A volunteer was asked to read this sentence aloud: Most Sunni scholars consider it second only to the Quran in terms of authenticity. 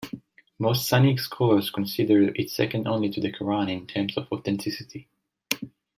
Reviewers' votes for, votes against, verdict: 0, 2, rejected